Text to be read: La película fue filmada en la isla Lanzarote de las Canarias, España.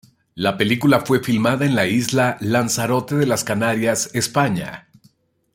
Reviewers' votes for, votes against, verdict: 2, 0, accepted